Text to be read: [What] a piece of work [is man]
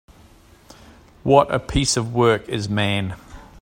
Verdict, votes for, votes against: accepted, 4, 0